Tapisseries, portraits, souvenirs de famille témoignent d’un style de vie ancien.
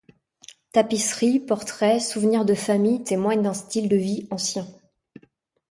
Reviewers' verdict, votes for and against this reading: accepted, 2, 0